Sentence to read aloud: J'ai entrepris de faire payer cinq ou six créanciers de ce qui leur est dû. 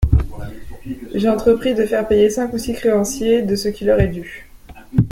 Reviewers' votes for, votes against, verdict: 2, 0, accepted